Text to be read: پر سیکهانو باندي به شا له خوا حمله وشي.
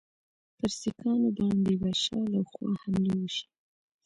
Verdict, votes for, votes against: accepted, 2, 1